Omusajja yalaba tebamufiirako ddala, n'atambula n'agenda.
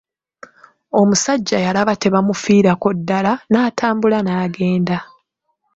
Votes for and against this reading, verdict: 2, 0, accepted